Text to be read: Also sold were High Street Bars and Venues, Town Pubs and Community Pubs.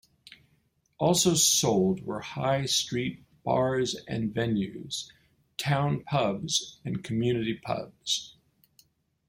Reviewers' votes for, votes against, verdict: 2, 0, accepted